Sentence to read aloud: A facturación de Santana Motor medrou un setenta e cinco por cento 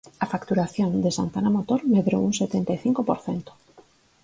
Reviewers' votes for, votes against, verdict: 4, 0, accepted